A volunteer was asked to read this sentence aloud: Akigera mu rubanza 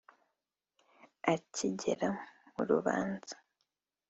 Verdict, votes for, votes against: accepted, 2, 0